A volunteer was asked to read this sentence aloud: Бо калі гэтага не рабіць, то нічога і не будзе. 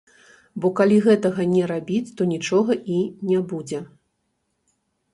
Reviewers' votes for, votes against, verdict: 1, 2, rejected